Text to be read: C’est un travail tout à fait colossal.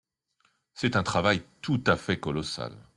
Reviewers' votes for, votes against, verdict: 2, 0, accepted